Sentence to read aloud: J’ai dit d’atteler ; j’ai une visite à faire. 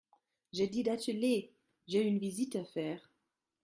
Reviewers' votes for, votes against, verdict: 2, 0, accepted